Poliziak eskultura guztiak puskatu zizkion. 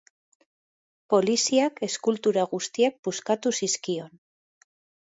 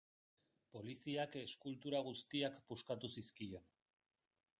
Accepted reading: first